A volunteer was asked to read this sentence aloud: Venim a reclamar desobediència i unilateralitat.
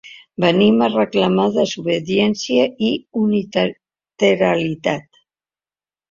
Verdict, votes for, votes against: rejected, 2, 4